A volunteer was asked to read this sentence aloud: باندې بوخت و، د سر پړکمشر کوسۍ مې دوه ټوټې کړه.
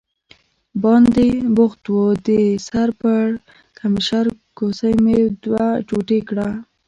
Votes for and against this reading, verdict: 2, 1, accepted